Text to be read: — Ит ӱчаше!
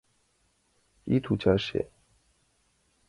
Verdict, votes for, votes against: rejected, 0, 2